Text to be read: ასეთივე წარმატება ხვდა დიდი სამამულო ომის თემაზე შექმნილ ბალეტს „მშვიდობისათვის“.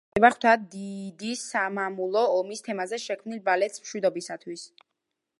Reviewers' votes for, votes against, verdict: 0, 2, rejected